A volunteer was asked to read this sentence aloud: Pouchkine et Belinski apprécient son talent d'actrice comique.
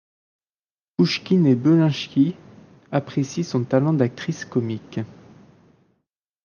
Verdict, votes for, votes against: rejected, 1, 2